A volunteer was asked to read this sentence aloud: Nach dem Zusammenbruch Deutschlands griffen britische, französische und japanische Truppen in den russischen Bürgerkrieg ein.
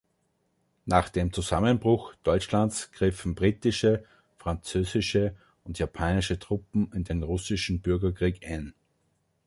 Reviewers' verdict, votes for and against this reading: accepted, 2, 0